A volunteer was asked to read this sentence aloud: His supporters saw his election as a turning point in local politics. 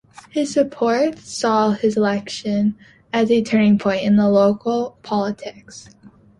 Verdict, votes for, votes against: rejected, 0, 2